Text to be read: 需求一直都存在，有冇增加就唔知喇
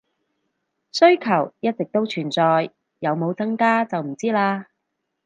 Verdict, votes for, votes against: accepted, 4, 0